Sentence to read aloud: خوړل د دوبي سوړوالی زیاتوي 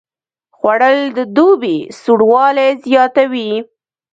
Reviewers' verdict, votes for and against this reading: rejected, 0, 2